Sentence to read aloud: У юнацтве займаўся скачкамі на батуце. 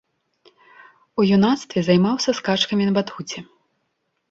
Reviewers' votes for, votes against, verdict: 1, 3, rejected